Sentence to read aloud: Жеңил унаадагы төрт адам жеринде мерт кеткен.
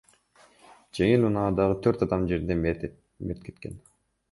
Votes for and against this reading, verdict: 2, 0, accepted